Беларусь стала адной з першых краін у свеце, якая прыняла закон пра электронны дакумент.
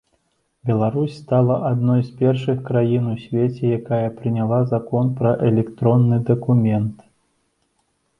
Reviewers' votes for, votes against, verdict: 2, 0, accepted